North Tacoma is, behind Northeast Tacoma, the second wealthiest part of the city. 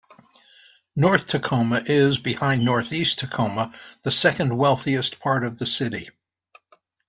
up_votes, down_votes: 2, 0